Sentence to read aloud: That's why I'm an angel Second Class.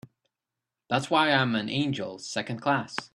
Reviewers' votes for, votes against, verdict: 3, 0, accepted